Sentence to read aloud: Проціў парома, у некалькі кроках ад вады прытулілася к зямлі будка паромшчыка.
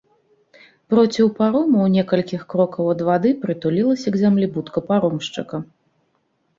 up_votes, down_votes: 1, 2